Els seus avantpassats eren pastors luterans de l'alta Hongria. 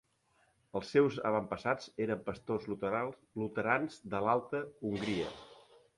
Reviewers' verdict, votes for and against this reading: accepted, 3, 2